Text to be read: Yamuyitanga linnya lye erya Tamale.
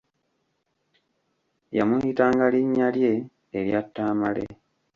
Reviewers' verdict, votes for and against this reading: rejected, 0, 2